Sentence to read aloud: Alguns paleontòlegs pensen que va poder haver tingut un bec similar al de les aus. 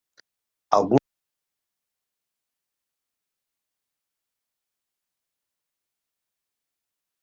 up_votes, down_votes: 0, 2